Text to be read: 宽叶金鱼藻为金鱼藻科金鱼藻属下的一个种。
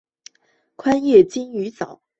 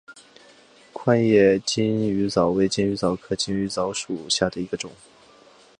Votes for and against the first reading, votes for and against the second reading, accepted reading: 1, 2, 2, 1, second